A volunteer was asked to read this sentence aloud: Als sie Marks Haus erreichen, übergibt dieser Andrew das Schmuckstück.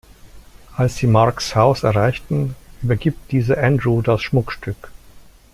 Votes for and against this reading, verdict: 1, 2, rejected